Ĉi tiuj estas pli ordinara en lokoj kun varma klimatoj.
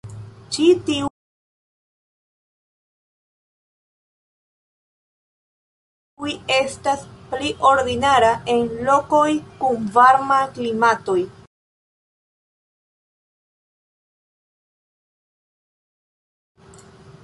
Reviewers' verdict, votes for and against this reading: rejected, 1, 2